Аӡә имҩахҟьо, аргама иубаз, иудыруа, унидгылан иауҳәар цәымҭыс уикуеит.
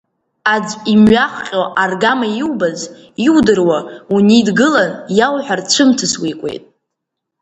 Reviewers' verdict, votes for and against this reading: rejected, 0, 2